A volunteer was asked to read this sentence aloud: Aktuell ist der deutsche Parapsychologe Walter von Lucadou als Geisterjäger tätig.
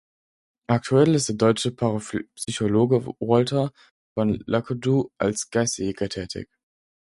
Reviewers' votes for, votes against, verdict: 2, 4, rejected